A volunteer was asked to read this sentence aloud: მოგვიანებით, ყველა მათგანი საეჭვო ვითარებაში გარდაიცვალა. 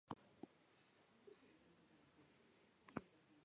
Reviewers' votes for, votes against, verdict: 1, 2, rejected